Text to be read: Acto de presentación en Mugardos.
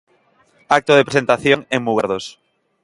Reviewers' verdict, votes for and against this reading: accepted, 2, 0